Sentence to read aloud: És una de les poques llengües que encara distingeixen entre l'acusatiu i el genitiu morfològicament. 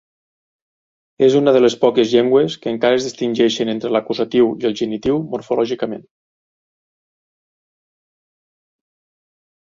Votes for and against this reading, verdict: 1, 2, rejected